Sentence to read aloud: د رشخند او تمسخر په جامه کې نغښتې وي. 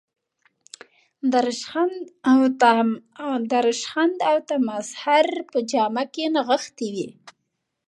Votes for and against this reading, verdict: 1, 2, rejected